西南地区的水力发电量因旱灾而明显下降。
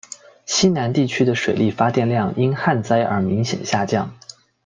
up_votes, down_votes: 2, 0